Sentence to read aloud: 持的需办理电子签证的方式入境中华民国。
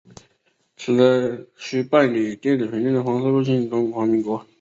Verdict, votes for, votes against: rejected, 1, 2